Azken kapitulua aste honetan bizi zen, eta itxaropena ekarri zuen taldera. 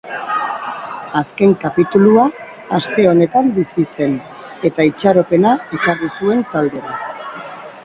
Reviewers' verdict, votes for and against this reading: rejected, 0, 2